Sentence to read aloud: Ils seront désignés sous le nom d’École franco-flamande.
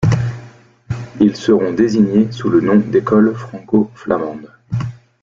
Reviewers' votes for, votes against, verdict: 2, 0, accepted